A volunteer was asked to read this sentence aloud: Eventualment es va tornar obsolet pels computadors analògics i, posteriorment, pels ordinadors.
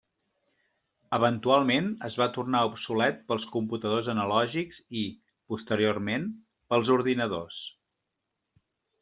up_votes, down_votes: 3, 0